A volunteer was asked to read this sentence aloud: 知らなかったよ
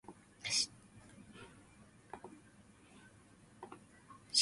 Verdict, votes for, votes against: rejected, 0, 2